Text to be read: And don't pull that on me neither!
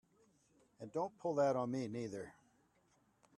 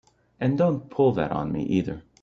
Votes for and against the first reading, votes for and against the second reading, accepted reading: 2, 0, 1, 3, first